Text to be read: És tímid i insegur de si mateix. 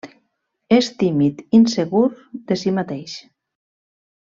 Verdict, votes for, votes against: rejected, 1, 2